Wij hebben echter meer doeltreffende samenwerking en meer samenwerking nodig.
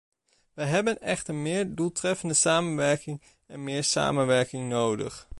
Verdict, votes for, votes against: accepted, 2, 0